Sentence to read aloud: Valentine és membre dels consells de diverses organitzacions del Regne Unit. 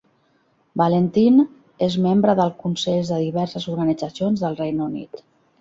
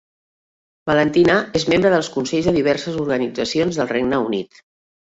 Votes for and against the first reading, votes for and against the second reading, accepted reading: 1, 2, 2, 0, second